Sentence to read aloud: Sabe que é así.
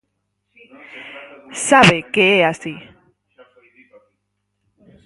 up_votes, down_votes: 0, 4